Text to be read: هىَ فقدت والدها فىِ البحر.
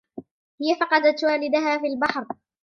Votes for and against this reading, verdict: 2, 0, accepted